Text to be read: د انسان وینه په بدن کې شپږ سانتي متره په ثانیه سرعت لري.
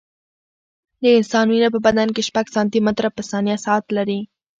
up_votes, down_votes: 1, 2